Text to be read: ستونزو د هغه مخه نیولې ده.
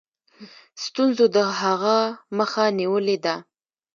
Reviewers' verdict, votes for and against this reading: accepted, 2, 1